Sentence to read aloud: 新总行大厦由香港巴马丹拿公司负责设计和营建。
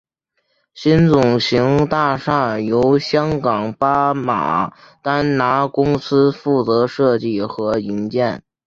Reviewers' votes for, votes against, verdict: 1, 2, rejected